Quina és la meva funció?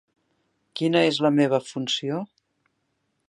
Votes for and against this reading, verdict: 4, 0, accepted